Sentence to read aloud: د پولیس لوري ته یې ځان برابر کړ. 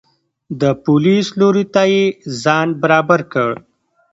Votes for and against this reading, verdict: 0, 2, rejected